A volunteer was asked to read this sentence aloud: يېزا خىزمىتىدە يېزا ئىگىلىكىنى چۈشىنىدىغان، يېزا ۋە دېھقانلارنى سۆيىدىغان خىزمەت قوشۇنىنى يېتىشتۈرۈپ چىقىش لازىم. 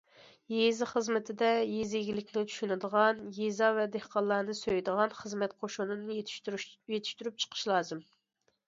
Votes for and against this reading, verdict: 2, 1, accepted